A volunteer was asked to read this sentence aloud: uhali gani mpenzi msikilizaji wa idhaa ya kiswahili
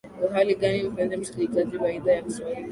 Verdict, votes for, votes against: accepted, 11, 1